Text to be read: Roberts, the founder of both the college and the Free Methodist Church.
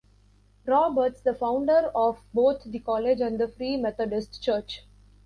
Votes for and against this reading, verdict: 2, 0, accepted